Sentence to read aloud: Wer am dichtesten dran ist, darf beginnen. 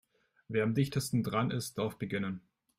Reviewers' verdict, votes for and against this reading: accepted, 2, 0